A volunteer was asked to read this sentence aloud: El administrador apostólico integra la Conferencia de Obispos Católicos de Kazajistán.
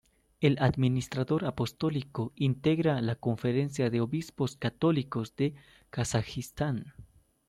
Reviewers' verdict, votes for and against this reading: accepted, 2, 0